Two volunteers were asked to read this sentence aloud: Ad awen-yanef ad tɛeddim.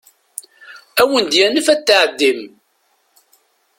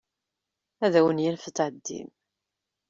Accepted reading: second